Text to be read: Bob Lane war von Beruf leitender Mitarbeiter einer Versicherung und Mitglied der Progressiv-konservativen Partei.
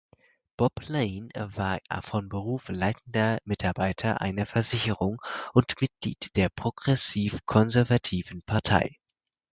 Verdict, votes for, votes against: accepted, 4, 0